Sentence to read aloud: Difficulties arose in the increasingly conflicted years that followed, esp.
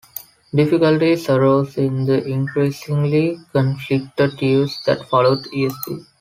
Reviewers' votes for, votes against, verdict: 3, 0, accepted